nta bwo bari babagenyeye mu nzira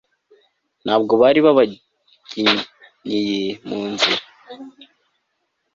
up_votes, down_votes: 2, 0